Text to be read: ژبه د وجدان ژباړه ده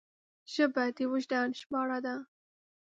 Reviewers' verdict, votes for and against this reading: accepted, 2, 0